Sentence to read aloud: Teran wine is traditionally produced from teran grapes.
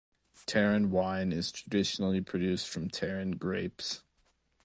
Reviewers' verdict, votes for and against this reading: accepted, 2, 0